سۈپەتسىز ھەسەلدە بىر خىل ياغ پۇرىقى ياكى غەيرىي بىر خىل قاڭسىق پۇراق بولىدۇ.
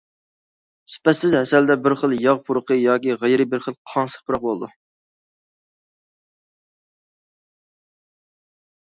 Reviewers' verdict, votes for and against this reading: accepted, 2, 0